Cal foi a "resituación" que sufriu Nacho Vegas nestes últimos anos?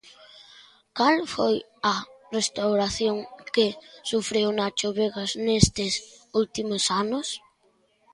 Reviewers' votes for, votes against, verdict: 0, 2, rejected